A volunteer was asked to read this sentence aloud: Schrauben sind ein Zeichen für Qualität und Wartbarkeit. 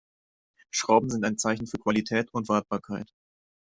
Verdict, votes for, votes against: accepted, 2, 1